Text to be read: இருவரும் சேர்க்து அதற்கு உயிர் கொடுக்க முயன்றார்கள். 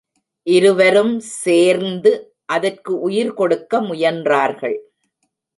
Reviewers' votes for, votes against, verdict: 1, 2, rejected